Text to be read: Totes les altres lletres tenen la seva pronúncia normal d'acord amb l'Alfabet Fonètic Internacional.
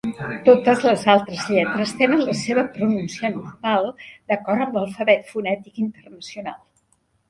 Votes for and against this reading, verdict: 0, 2, rejected